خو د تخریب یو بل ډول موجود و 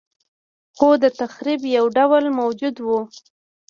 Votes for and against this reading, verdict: 2, 1, accepted